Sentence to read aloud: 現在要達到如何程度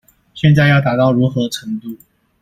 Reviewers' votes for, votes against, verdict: 2, 0, accepted